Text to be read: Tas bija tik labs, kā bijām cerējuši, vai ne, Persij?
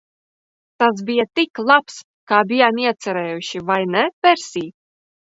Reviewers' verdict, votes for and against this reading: rejected, 0, 2